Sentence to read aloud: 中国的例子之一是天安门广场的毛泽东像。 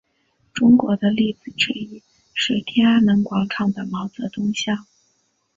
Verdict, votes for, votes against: accepted, 2, 0